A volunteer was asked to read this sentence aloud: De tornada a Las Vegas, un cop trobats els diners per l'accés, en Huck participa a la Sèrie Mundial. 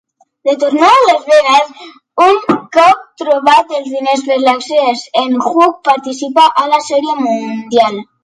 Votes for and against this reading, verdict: 2, 0, accepted